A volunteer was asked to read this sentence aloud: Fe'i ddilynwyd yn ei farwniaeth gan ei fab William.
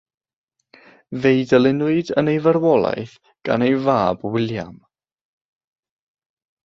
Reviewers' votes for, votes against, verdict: 0, 3, rejected